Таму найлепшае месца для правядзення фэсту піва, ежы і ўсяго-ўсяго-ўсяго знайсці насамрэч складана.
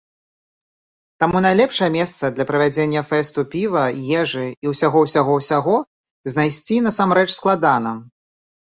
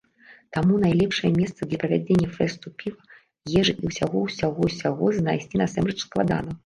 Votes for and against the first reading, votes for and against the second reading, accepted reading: 2, 0, 1, 2, first